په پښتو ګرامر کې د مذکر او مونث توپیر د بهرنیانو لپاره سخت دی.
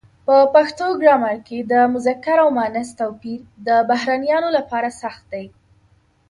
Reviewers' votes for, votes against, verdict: 2, 0, accepted